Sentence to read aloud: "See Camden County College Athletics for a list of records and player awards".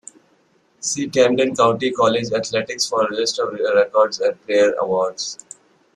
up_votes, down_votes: 2, 0